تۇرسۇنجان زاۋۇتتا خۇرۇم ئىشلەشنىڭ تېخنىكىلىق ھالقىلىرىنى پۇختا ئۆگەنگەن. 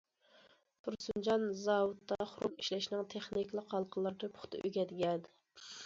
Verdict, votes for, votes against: rejected, 0, 2